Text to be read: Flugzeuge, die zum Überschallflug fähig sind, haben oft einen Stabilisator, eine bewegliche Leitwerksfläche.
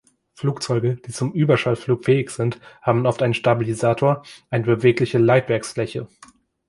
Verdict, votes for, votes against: rejected, 1, 3